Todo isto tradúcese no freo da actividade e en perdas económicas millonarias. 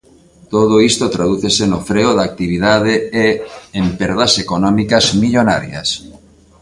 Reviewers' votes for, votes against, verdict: 2, 0, accepted